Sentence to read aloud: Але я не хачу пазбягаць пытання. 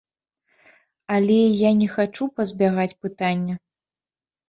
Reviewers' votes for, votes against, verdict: 3, 0, accepted